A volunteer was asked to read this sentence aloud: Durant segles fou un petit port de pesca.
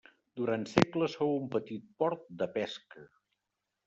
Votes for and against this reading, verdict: 3, 0, accepted